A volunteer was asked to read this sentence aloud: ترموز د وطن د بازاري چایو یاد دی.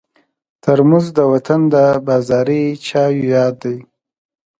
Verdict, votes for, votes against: accepted, 2, 0